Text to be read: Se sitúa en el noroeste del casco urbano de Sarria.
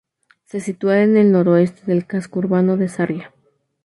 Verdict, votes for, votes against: accepted, 2, 0